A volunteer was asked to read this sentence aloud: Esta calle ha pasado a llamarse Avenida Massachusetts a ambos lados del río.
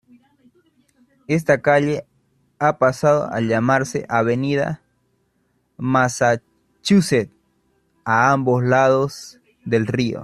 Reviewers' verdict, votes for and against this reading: accepted, 2, 0